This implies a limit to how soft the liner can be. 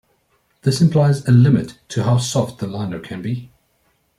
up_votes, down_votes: 2, 0